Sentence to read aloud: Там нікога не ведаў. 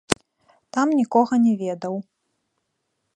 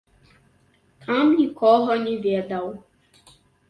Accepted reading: second